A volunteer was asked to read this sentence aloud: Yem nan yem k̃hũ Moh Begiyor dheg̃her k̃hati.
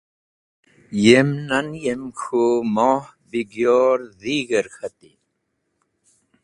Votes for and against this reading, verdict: 0, 2, rejected